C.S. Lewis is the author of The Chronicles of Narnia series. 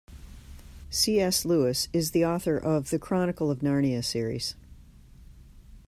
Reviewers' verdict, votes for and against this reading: accepted, 2, 1